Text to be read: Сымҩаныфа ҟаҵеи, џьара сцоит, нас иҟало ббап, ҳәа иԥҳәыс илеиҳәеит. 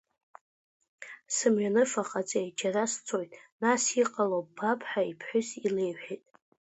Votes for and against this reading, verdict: 2, 0, accepted